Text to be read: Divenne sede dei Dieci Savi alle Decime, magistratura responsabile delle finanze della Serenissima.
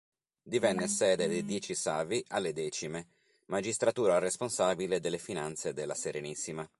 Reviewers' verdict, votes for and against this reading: accepted, 2, 0